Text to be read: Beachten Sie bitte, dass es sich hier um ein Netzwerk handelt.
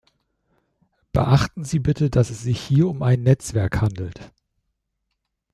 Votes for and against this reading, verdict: 2, 0, accepted